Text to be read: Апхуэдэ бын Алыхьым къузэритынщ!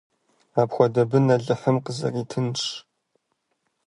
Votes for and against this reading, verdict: 1, 2, rejected